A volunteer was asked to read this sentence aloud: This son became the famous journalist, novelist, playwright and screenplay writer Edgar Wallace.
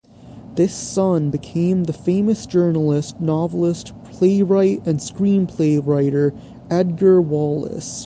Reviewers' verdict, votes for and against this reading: accepted, 3, 0